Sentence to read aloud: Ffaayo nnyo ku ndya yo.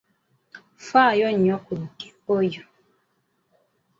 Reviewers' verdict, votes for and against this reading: rejected, 1, 2